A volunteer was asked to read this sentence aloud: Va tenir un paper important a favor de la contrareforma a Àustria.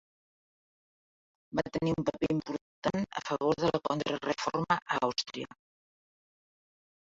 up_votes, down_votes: 1, 2